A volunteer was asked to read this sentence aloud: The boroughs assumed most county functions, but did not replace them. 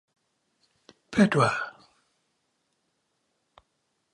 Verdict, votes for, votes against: rejected, 0, 3